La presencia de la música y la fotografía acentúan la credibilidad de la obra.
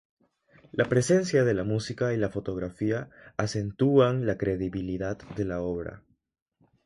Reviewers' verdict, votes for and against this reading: accepted, 3, 0